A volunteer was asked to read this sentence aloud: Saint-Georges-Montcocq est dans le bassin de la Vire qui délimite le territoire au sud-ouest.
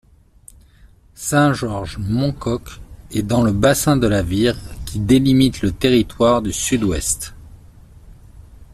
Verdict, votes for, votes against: rejected, 1, 2